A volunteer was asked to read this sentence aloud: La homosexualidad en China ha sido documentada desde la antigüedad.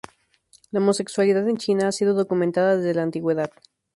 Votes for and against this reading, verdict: 2, 0, accepted